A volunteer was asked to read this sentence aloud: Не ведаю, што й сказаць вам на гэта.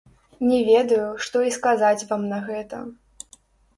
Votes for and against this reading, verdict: 0, 2, rejected